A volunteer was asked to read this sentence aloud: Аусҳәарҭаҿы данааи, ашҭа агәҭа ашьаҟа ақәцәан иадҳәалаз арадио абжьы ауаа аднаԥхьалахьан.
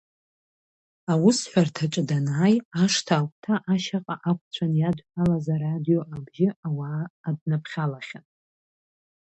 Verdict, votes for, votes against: accepted, 2, 0